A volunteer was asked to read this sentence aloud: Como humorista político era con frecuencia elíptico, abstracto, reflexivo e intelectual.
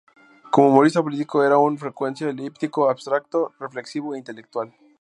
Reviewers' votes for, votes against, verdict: 2, 2, rejected